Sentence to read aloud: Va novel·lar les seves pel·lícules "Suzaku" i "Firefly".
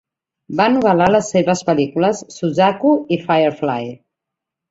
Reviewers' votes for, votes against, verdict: 2, 0, accepted